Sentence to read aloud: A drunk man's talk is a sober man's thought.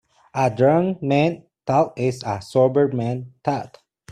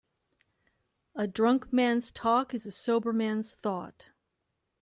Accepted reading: second